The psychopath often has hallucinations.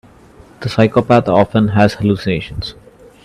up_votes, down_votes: 2, 0